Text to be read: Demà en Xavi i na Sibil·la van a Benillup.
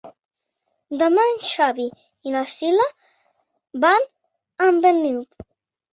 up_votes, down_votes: 0, 2